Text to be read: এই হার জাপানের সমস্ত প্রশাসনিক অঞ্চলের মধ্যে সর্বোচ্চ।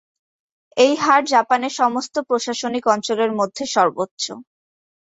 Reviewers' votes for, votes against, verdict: 2, 1, accepted